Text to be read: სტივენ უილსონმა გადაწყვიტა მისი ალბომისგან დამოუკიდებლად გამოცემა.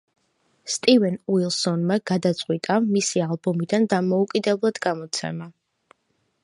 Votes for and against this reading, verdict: 0, 2, rejected